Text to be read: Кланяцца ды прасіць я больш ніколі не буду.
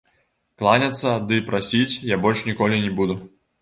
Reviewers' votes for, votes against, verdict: 2, 0, accepted